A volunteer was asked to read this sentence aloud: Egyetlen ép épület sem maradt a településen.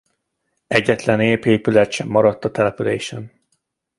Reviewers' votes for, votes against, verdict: 2, 0, accepted